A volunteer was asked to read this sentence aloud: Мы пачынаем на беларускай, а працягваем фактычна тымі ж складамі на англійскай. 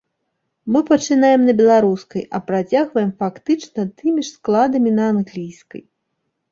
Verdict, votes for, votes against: accepted, 2, 1